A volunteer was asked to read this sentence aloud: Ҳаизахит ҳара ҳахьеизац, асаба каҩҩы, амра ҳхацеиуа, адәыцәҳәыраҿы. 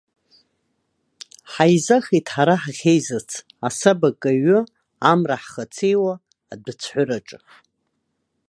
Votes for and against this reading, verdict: 2, 0, accepted